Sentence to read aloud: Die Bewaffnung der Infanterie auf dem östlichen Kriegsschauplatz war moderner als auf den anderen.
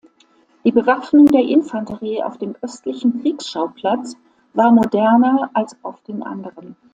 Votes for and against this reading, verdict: 0, 2, rejected